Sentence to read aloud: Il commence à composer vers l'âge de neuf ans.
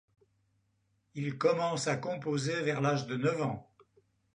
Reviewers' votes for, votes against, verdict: 2, 0, accepted